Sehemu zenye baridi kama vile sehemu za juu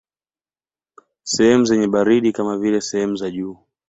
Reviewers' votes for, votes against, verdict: 2, 0, accepted